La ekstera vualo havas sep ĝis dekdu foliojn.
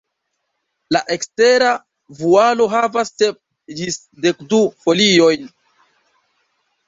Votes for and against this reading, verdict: 0, 2, rejected